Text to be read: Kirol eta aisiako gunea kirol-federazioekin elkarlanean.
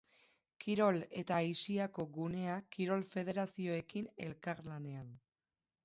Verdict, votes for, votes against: accepted, 4, 0